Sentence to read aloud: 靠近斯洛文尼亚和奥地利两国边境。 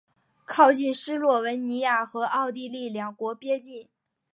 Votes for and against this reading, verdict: 2, 0, accepted